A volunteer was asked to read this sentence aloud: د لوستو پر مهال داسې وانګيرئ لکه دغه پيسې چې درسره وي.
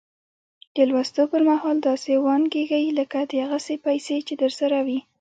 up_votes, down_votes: 1, 2